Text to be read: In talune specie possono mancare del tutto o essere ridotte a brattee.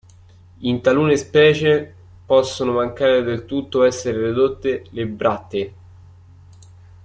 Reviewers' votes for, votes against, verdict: 0, 2, rejected